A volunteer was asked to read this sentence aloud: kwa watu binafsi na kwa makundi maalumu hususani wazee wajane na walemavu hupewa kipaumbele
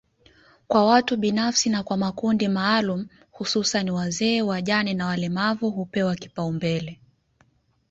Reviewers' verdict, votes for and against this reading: accepted, 2, 1